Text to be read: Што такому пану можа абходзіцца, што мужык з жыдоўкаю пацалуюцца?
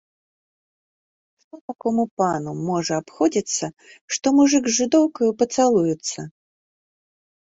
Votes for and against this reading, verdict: 1, 2, rejected